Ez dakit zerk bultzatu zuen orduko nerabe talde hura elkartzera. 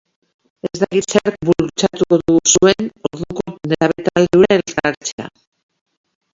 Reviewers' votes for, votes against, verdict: 0, 2, rejected